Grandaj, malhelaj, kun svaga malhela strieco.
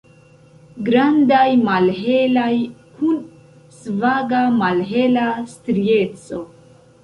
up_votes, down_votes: 1, 2